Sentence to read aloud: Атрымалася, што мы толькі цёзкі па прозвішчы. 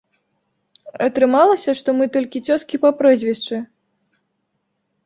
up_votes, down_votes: 2, 0